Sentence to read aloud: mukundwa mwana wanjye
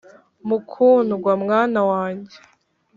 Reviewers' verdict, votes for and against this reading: rejected, 2, 3